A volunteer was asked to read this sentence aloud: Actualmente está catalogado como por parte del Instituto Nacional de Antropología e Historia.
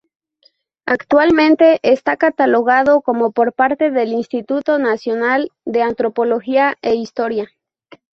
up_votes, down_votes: 2, 0